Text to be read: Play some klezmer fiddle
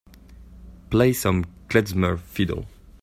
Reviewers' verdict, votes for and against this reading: accepted, 2, 1